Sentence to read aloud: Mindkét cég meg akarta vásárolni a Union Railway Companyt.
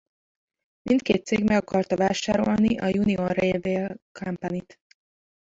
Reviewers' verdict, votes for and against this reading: rejected, 1, 2